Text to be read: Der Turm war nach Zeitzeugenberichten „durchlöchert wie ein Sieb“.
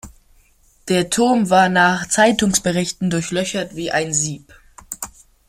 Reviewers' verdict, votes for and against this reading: rejected, 0, 2